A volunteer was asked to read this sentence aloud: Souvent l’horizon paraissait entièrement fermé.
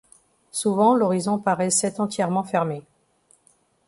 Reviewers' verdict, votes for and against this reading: accepted, 2, 1